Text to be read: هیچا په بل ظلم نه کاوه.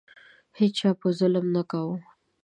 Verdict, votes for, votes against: accepted, 2, 0